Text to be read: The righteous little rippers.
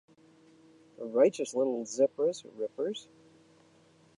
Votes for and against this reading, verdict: 0, 2, rejected